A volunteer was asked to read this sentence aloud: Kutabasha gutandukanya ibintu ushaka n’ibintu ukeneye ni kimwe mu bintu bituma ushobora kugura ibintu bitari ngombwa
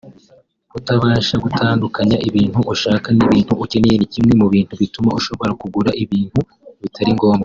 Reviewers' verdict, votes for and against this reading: accepted, 2, 0